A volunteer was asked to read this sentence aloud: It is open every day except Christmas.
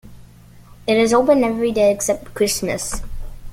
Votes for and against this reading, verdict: 2, 0, accepted